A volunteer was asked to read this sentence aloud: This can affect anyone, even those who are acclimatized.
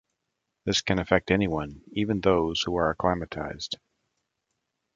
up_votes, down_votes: 2, 0